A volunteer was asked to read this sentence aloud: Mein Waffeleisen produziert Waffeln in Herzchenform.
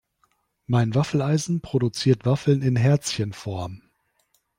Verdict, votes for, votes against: accepted, 3, 0